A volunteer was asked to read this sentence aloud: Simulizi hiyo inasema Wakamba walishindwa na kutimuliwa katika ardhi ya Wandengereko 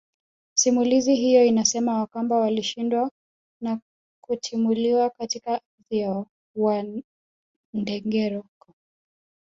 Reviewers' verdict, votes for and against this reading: rejected, 0, 3